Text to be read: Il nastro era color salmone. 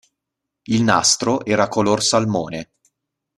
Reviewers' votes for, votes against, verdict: 2, 0, accepted